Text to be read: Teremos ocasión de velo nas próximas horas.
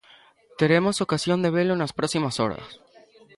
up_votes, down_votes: 0, 2